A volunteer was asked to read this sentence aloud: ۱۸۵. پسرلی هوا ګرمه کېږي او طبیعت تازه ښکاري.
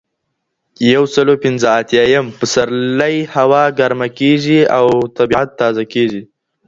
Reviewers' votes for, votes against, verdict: 0, 2, rejected